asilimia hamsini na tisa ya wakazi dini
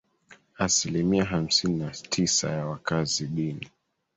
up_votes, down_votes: 1, 2